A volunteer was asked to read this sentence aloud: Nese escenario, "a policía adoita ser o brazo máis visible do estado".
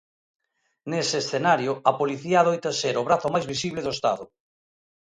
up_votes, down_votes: 2, 0